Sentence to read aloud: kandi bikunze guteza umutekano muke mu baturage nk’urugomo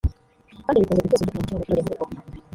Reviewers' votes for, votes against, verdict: 1, 2, rejected